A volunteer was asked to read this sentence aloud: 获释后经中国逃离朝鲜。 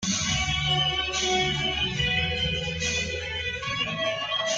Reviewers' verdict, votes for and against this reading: rejected, 0, 2